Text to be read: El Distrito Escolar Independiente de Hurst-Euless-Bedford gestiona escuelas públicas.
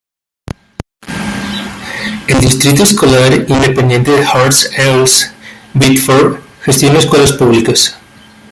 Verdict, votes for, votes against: accepted, 2, 0